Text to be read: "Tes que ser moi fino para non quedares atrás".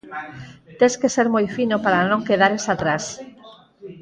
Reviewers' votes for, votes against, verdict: 4, 0, accepted